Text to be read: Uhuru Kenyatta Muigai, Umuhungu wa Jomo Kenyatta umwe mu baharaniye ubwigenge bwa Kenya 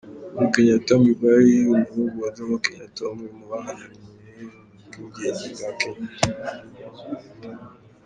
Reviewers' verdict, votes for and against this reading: rejected, 0, 2